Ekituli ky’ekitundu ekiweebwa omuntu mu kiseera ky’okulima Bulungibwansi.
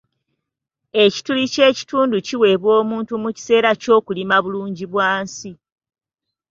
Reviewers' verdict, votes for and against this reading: accepted, 2, 0